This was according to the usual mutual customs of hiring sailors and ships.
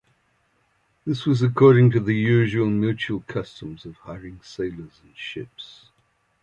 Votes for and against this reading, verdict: 2, 0, accepted